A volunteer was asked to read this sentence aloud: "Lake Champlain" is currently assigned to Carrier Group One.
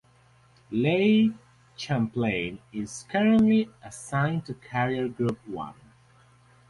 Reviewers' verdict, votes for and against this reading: accepted, 2, 0